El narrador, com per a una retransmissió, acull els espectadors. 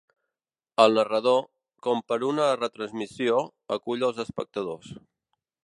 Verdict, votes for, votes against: rejected, 0, 2